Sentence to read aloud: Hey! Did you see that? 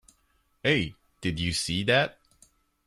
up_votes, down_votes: 2, 0